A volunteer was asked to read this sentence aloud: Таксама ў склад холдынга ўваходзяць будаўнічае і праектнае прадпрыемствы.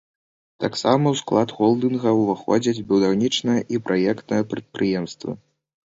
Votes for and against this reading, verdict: 0, 2, rejected